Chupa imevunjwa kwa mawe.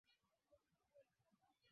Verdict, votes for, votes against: rejected, 0, 2